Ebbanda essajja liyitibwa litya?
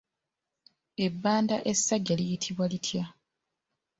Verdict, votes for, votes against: accepted, 2, 1